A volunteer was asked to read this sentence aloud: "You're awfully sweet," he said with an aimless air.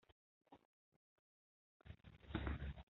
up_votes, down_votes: 0, 2